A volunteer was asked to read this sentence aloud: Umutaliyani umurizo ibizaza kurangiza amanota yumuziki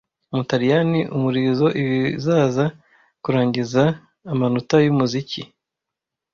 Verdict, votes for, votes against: rejected, 1, 2